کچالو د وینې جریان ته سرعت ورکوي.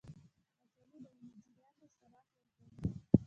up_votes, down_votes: 0, 2